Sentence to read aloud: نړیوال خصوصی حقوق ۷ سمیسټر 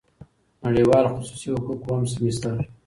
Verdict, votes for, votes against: rejected, 0, 2